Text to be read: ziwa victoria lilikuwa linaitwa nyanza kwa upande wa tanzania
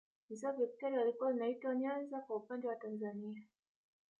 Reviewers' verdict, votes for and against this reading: rejected, 1, 2